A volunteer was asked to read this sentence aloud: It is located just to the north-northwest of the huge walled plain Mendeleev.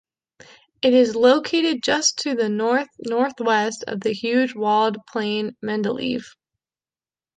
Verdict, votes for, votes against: rejected, 1, 2